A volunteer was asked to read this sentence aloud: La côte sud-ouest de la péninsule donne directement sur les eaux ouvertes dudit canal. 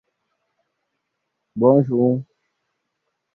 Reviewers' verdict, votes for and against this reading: rejected, 0, 2